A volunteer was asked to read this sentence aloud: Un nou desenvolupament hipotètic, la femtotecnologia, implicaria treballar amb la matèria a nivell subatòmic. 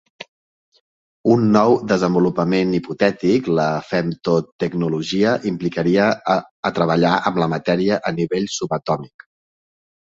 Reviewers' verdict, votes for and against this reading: accepted, 2, 0